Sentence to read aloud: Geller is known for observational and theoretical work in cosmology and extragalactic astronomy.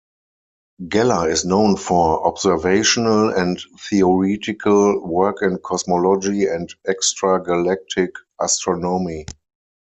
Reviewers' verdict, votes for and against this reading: rejected, 0, 4